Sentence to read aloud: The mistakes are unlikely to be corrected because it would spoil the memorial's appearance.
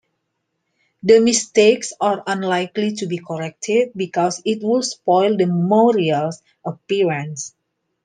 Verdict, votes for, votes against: accepted, 2, 0